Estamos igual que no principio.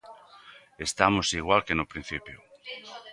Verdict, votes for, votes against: accepted, 2, 1